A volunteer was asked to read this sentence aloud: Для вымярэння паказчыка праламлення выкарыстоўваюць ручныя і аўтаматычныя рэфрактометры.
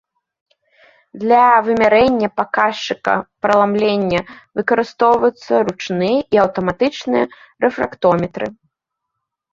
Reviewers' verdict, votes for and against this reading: rejected, 1, 2